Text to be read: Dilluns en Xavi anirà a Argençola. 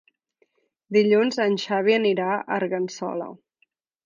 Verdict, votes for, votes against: rejected, 1, 2